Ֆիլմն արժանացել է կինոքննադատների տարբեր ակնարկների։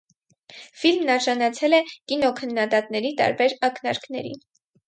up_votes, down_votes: 4, 0